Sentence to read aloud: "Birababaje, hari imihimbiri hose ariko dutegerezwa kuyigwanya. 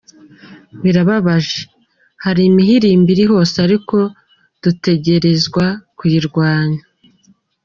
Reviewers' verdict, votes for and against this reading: accepted, 2, 1